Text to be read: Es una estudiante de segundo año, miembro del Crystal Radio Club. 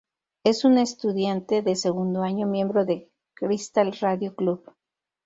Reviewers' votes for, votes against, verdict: 0, 4, rejected